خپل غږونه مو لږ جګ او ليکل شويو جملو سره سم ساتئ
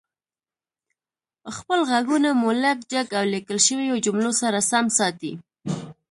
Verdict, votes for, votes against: rejected, 1, 2